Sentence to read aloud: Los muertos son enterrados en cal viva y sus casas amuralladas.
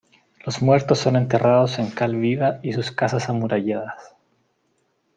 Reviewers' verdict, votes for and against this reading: accepted, 2, 0